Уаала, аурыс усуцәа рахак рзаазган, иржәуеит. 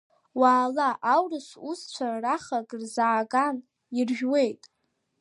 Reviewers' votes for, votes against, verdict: 2, 0, accepted